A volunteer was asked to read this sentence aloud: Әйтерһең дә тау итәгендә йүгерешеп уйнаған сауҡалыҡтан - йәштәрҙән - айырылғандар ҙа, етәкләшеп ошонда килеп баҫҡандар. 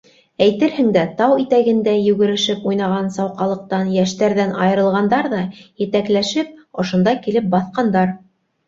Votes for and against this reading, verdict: 3, 0, accepted